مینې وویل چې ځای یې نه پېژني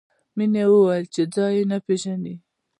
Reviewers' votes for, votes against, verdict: 2, 0, accepted